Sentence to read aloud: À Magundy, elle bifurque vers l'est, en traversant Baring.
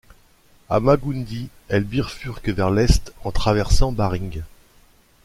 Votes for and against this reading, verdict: 2, 1, accepted